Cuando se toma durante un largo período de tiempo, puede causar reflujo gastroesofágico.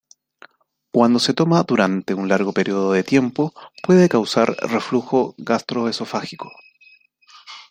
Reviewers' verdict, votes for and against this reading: accepted, 2, 0